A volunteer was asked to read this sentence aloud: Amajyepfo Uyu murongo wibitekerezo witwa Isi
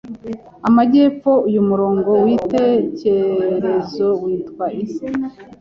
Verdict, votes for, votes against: rejected, 1, 2